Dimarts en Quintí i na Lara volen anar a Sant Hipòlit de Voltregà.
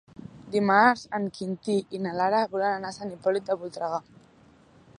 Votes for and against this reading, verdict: 1, 2, rejected